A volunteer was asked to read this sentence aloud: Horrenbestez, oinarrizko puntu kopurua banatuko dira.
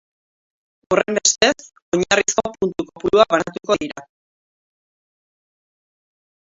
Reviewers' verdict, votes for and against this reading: rejected, 0, 2